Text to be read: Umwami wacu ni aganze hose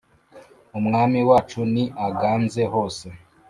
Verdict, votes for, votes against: accepted, 2, 0